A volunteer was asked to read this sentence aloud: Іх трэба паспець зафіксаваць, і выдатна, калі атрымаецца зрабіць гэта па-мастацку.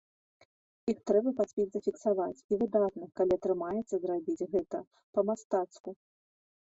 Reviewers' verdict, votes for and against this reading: accepted, 2, 0